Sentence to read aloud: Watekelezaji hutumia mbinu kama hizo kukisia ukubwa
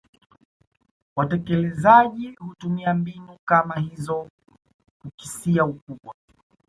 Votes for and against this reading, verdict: 1, 2, rejected